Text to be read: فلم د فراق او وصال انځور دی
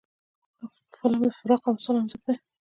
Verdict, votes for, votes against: rejected, 1, 2